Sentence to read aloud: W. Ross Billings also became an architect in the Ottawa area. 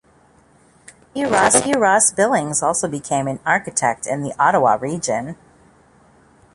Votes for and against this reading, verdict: 0, 2, rejected